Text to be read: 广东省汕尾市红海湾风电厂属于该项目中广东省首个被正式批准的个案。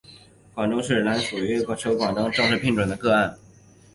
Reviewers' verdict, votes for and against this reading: rejected, 1, 2